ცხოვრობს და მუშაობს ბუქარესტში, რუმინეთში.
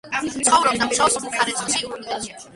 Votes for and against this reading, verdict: 1, 3, rejected